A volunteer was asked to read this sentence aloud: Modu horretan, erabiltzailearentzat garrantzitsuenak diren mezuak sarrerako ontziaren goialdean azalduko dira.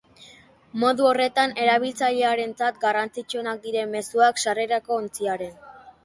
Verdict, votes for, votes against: rejected, 0, 2